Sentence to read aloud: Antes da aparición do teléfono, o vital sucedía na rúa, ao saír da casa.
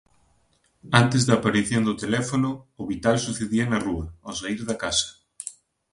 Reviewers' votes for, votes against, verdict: 2, 0, accepted